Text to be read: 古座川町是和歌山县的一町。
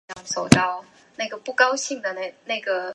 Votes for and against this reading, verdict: 2, 0, accepted